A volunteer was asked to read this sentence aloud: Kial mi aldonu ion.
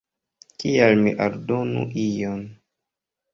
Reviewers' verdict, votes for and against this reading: accepted, 2, 0